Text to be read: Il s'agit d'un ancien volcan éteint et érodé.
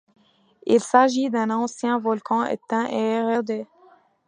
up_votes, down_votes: 2, 1